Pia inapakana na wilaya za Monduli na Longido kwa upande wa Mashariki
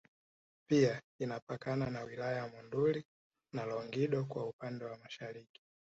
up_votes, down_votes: 2, 0